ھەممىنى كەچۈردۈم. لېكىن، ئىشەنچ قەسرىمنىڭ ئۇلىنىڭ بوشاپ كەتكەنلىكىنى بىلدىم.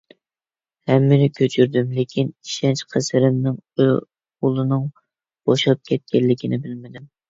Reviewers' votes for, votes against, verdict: 0, 2, rejected